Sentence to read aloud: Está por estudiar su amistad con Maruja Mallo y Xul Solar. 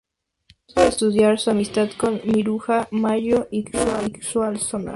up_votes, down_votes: 0, 2